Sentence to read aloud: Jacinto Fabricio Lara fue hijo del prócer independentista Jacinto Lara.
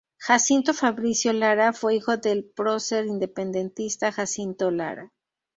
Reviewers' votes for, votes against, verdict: 2, 6, rejected